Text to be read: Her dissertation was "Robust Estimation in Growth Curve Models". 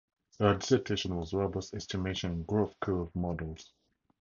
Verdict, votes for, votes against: rejected, 2, 2